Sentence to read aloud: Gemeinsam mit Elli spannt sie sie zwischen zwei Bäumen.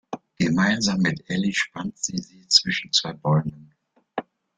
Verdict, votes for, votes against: accepted, 2, 1